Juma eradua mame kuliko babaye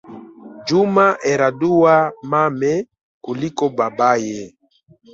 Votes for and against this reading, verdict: 2, 0, accepted